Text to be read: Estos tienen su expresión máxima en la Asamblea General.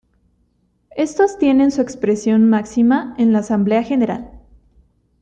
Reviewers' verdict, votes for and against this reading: accepted, 2, 0